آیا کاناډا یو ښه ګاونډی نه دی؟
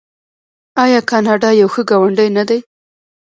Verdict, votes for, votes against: rejected, 1, 2